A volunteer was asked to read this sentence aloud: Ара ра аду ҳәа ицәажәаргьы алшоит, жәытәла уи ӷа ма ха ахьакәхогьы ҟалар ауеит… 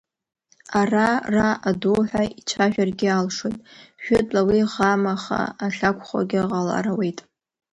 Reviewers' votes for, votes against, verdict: 0, 2, rejected